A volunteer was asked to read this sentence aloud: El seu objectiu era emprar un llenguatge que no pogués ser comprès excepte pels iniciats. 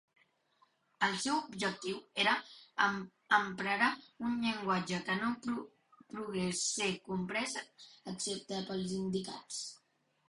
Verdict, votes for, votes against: rejected, 0, 2